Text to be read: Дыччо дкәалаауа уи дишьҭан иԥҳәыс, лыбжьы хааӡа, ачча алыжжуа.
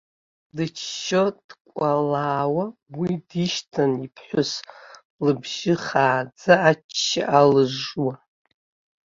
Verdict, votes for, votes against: rejected, 0, 2